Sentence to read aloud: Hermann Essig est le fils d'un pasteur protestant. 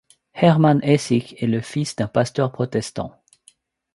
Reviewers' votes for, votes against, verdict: 2, 0, accepted